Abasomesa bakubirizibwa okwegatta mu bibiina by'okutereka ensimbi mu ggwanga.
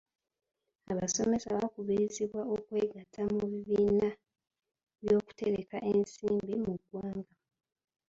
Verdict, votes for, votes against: rejected, 1, 2